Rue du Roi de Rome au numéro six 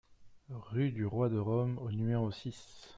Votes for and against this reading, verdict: 2, 0, accepted